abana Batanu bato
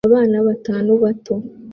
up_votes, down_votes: 2, 0